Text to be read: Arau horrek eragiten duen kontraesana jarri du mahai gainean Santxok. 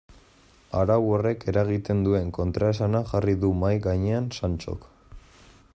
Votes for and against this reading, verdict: 2, 0, accepted